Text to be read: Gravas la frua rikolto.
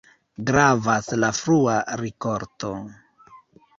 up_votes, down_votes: 0, 2